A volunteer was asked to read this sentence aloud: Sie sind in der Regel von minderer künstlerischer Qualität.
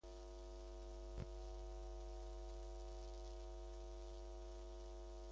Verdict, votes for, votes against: rejected, 0, 2